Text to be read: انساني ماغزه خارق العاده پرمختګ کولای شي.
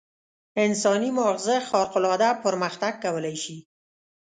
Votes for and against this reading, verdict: 2, 0, accepted